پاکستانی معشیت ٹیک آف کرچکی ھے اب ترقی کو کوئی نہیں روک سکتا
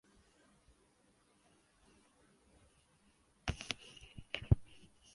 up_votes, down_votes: 1, 2